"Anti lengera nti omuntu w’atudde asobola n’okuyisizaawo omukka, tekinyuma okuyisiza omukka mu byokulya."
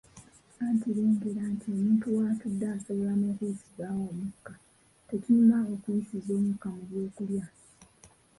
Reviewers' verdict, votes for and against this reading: rejected, 1, 2